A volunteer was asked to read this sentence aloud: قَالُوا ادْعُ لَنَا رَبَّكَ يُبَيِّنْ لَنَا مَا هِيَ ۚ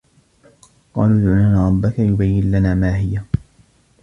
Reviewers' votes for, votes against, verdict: 1, 2, rejected